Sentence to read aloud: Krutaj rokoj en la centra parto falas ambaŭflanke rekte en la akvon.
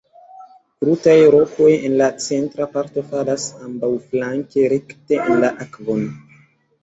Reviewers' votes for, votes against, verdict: 1, 2, rejected